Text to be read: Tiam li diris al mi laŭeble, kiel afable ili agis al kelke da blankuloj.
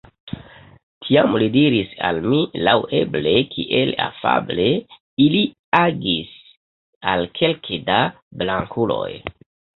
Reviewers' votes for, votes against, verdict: 2, 0, accepted